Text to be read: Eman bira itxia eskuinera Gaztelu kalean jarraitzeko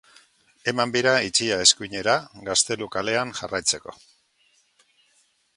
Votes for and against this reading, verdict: 2, 0, accepted